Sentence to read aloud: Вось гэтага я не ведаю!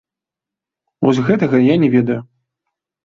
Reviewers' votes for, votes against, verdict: 2, 0, accepted